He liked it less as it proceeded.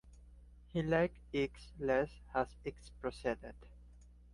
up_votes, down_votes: 1, 2